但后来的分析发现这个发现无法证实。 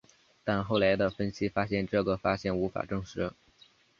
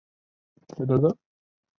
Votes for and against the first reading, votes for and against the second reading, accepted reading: 3, 0, 0, 2, first